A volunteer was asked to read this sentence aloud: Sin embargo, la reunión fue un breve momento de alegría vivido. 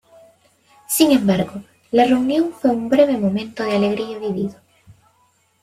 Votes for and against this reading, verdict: 1, 2, rejected